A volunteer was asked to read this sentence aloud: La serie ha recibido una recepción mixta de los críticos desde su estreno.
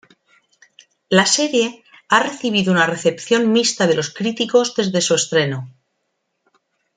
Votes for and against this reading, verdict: 2, 0, accepted